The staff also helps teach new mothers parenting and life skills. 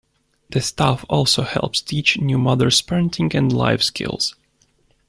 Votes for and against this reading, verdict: 2, 0, accepted